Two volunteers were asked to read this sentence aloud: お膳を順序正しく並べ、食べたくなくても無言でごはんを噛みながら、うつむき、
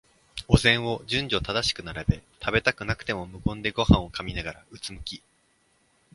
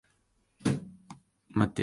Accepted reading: first